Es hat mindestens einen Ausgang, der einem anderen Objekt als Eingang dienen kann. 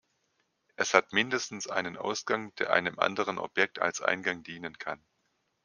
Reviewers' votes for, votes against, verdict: 1, 2, rejected